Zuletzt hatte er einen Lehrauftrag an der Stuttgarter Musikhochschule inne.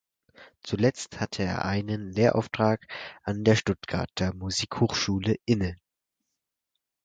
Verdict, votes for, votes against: accepted, 4, 0